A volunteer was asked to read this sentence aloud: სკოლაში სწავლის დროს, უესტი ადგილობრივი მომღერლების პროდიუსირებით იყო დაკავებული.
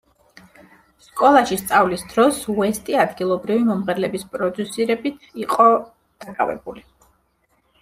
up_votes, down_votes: 2, 0